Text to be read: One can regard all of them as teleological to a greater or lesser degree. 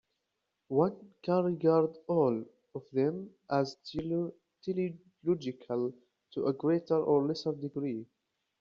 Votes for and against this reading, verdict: 0, 2, rejected